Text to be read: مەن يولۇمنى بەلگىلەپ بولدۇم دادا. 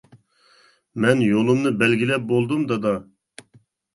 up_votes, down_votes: 2, 0